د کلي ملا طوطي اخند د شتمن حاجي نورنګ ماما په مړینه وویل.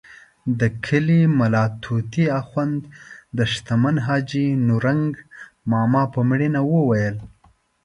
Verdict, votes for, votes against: accepted, 2, 0